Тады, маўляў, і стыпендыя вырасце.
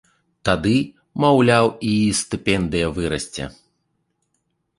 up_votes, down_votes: 2, 0